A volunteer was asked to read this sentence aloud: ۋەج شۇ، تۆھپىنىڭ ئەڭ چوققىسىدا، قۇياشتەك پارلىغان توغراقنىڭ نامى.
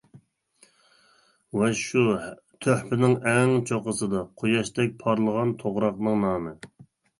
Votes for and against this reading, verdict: 2, 1, accepted